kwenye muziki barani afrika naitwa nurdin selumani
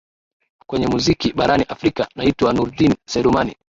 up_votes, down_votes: 1, 2